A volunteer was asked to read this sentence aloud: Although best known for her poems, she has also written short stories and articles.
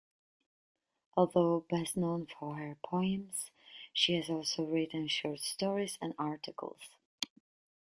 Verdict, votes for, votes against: accepted, 2, 0